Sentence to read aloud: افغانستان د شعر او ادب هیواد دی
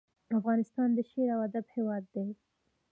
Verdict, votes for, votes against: accepted, 2, 1